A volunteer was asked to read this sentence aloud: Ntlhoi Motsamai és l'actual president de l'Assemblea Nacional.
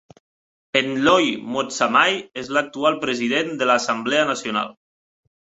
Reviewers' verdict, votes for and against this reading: accepted, 3, 0